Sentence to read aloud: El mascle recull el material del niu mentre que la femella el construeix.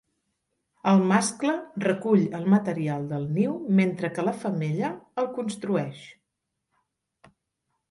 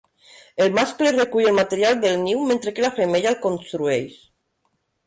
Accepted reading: first